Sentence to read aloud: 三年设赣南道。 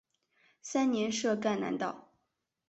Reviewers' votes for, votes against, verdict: 3, 0, accepted